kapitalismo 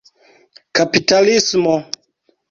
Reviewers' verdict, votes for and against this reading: accepted, 2, 0